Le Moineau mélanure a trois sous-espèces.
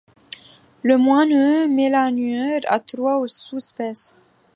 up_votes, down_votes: 0, 2